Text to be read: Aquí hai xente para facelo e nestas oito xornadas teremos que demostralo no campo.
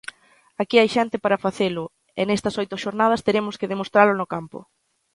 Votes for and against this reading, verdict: 2, 0, accepted